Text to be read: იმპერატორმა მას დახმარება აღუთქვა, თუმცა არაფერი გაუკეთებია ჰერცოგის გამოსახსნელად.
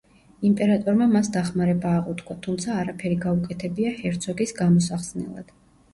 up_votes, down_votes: 1, 2